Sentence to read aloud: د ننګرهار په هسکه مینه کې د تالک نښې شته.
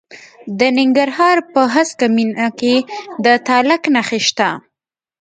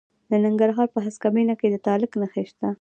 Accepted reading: second